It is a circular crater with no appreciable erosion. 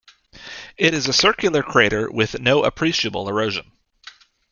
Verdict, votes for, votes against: accepted, 2, 0